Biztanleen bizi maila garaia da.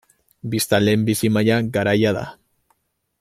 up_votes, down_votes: 2, 0